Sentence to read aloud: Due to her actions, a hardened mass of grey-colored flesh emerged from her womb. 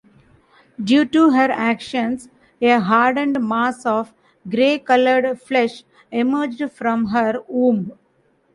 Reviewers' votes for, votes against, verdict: 2, 0, accepted